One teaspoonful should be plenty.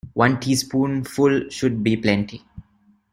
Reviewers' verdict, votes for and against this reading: accepted, 2, 1